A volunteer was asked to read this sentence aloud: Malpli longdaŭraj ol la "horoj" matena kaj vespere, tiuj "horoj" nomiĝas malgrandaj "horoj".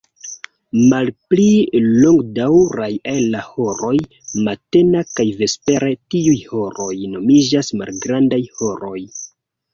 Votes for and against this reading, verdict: 0, 2, rejected